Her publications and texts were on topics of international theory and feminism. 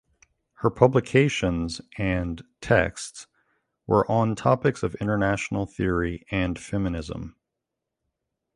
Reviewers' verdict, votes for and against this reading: accepted, 2, 0